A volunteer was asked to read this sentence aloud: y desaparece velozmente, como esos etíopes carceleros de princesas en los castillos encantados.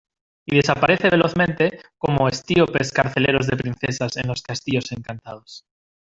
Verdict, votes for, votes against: rejected, 0, 2